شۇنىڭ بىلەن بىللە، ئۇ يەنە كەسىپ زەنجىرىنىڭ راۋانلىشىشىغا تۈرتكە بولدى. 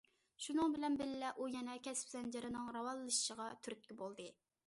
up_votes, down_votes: 2, 0